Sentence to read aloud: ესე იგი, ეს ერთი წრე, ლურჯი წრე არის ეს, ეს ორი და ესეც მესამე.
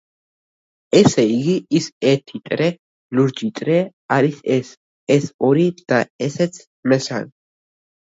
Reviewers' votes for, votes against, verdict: 0, 2, rejected